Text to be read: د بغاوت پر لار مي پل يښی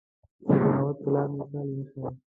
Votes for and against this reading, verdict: 2, 1, accepted